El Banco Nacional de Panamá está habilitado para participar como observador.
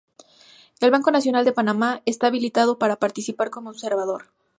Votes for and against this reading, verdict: 2, 0, accepted